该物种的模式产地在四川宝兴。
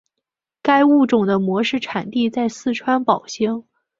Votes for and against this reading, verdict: 2, 0, accepted